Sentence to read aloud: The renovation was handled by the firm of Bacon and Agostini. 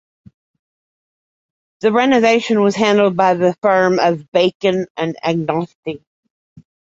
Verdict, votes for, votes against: rejected, 1, 2